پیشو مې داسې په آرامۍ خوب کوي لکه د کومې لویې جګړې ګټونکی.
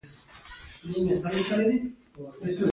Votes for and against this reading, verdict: 1, 2, rejected